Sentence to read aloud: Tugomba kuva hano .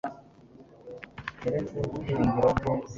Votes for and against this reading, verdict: 1, 2, rejected